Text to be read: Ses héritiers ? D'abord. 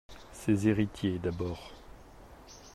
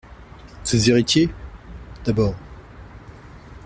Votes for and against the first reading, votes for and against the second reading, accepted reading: 0, 2, 2, 0, second